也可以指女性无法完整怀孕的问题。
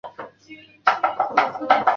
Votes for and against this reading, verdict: 1, 2, rejected